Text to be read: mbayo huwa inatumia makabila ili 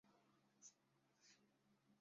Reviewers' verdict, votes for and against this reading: rejected, 0, 2